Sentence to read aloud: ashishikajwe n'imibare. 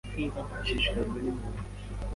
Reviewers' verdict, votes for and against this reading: rejected, 1, 2